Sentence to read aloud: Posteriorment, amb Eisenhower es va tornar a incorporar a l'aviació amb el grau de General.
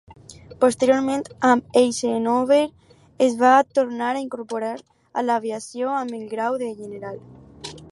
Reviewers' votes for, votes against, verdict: 4, 2, accepted